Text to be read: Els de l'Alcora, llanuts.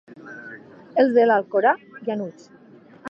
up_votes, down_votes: 1, 3